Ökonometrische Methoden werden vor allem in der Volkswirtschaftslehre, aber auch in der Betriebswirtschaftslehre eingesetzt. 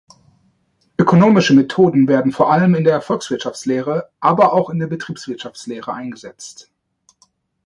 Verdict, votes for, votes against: rejected, 1, 2